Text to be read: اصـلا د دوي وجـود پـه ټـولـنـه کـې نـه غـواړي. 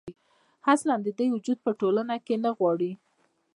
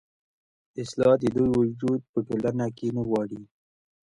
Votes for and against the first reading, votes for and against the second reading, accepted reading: 1, 2, 2, 1, second